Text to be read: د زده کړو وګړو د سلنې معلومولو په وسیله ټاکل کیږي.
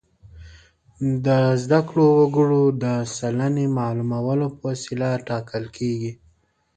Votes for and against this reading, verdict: 9, 1, accepted